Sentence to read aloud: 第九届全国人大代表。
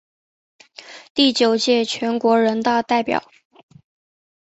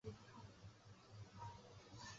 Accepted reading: first